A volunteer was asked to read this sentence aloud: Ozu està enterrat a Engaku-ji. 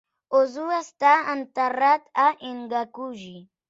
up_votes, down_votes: 3, 0